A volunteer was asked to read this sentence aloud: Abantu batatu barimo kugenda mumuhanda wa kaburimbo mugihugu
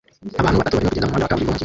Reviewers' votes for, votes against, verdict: 0, 2, rejected